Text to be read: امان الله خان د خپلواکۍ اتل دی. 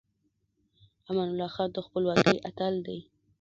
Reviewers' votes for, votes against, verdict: 2, 0, accepted